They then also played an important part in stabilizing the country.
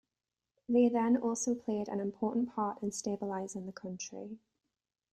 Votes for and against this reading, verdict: 2, 1, accepted